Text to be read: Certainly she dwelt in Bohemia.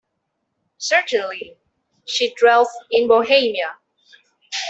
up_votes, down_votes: 2, 1